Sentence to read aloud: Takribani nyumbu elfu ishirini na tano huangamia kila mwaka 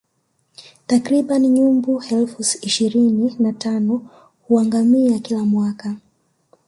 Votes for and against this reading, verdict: 2, 1, accepted